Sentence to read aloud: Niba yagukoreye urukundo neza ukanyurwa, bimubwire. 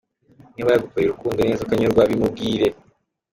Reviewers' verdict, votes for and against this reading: accepted, 3, 0